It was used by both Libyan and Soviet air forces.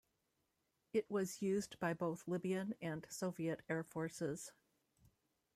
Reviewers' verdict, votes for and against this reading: rejected, 1, 2